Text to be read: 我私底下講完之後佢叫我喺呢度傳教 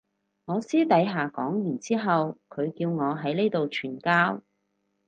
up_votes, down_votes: 4, 0